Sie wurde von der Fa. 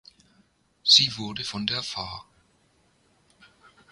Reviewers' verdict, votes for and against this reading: accepted, 2, 0